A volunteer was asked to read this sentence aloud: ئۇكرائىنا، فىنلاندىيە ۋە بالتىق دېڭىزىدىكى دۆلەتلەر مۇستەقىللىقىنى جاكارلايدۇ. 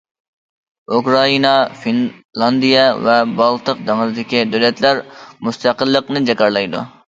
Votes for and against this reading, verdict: 0, 2, rejected